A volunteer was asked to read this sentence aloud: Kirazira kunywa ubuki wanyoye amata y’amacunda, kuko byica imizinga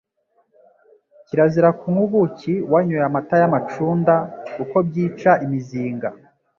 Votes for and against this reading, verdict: 2, 0, accepted